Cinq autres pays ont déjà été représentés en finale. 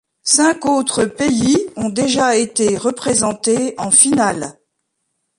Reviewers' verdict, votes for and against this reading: rejected, 0, 2